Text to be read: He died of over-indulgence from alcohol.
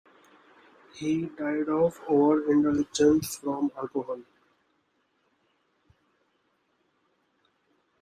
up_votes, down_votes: 1, 2